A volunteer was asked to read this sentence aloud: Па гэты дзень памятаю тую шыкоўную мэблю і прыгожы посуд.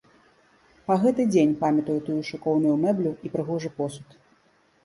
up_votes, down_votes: 2, 0